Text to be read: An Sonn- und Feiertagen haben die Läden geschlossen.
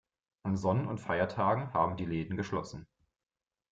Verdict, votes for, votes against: accepted, 2, 1